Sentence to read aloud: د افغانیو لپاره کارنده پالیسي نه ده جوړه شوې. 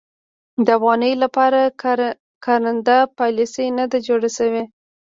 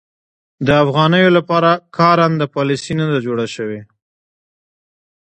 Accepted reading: second